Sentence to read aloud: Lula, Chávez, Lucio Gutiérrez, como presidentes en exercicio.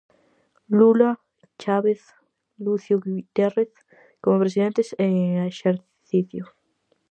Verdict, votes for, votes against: rejected, 0, 4